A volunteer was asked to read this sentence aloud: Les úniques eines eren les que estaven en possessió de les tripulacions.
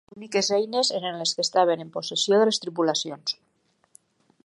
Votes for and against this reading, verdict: 1, 3, rejected